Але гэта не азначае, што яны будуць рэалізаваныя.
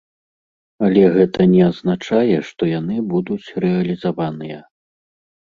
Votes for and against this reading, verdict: 2, 0, accepted